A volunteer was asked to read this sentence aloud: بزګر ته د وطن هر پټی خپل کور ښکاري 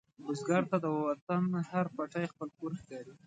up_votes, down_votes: 2, 0